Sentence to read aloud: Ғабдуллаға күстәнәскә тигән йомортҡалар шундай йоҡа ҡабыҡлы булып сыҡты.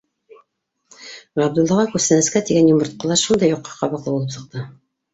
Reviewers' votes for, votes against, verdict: 0, 2, rejected